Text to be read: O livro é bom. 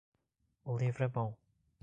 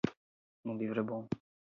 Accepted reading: first